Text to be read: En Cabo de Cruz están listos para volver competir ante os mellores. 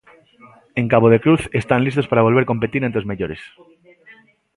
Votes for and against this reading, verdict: 2, 0, accepted